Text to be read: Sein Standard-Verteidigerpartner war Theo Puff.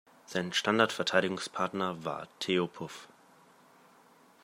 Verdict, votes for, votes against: rejected, 1, 2